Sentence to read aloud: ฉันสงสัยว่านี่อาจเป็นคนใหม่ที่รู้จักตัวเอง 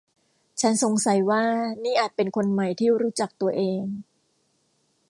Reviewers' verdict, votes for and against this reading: accepted, 2, 0